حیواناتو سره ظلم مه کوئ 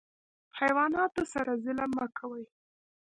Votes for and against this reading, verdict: 2, 0, accepted